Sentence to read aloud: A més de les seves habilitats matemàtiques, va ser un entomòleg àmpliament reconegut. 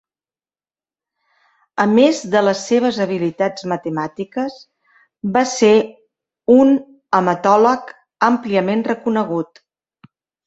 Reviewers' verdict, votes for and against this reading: rejected, 0, 2